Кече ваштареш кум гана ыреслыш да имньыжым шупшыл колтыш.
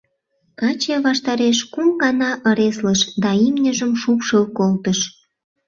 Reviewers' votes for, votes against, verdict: 0, 2, rejected